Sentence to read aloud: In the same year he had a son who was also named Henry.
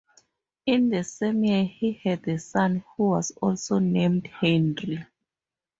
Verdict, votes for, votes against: accepted, 4, 0